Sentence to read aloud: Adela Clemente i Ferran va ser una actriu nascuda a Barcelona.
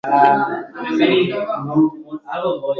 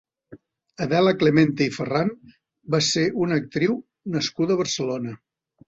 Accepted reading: second